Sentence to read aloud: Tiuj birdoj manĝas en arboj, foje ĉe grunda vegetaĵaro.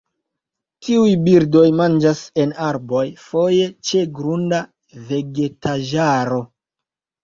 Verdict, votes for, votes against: rejected, 0, 2